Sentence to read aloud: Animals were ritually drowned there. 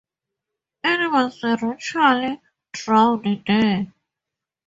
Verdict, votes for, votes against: rejected, 2, 2